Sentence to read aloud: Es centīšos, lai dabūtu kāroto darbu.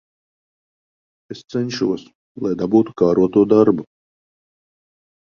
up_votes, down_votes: 0, 2